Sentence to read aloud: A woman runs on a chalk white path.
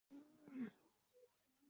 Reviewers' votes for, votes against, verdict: 0, 2, rejected